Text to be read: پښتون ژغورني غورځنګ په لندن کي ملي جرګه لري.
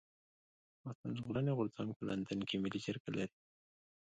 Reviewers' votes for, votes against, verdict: 2, 0, accepted